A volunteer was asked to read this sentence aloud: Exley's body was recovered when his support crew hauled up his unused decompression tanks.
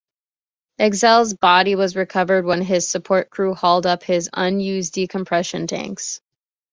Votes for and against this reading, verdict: 2, 0, accepted